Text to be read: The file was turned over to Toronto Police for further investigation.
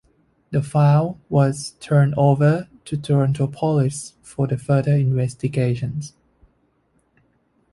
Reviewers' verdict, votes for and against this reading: accepted, 2, 0